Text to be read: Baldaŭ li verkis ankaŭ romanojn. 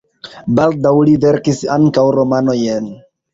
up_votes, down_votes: 1, 2